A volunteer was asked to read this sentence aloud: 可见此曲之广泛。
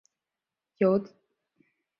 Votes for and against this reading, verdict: 0, 2, rejected